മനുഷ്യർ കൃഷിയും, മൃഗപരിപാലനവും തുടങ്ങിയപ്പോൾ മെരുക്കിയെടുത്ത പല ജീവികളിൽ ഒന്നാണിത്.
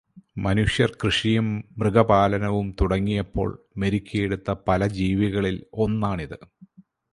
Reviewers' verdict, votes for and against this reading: rejected, 2, 2